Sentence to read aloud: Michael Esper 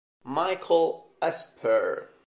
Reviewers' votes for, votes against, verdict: 0, 2, rejected